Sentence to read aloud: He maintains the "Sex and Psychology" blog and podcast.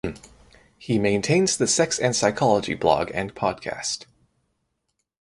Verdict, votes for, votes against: rejected, 0, 2